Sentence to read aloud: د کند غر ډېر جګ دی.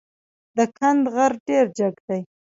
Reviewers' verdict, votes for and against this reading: accepted, 2, 0